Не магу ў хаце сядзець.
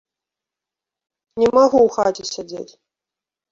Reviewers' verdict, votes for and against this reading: rejected, 1, 2